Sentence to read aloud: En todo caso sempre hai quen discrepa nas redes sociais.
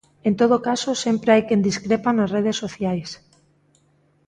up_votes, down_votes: 2, 0